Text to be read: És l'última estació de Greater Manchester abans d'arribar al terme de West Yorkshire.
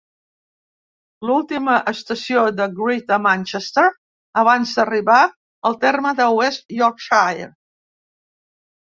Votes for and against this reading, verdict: 0, 2, rejected